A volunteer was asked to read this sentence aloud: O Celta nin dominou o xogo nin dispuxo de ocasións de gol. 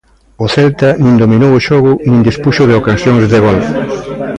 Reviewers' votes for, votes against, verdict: 1, 2, rejected